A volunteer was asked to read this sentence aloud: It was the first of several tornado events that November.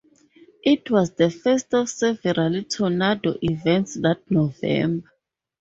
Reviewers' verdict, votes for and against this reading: rejected, 0, 2